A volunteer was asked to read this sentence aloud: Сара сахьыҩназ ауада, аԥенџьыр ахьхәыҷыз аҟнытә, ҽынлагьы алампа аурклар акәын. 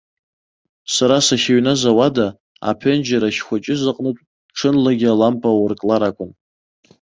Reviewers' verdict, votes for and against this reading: accepted, 2, 0